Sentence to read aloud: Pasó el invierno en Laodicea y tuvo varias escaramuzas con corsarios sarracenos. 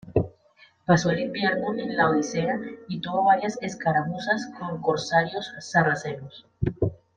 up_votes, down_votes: 2, 1